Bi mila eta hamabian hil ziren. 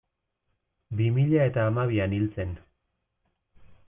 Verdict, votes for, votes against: rejected, 0, 2